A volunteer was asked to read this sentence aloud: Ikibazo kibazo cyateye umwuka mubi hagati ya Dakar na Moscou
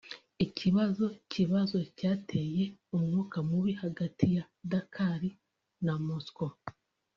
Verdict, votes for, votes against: accepted, 2, 1